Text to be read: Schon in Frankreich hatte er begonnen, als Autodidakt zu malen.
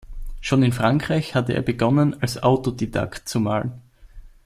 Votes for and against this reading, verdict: 2, 0, accepted